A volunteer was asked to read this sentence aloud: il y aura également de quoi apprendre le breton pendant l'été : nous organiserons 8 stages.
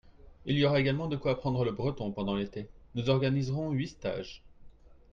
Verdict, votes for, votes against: rejected, 0, 2